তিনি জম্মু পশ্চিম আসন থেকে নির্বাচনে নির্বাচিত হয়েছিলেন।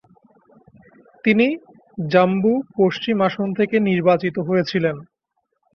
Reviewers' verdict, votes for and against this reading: rejected, 9, 15